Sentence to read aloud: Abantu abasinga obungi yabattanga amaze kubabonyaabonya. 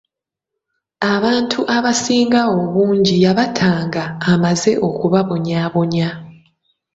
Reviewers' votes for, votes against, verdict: 1, 2, rejected